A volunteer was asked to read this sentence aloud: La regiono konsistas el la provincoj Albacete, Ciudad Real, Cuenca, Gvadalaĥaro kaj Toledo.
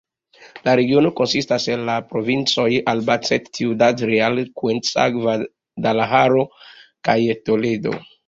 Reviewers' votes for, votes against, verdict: 1, 2, rejected